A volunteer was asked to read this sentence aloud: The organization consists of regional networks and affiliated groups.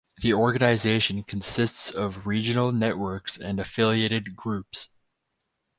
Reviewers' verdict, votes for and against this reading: rejected, 2, 2